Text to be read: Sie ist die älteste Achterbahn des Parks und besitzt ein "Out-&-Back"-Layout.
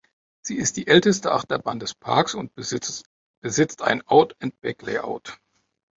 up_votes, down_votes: 0, 2